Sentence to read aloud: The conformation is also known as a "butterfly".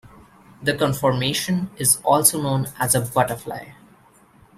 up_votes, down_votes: 2, 0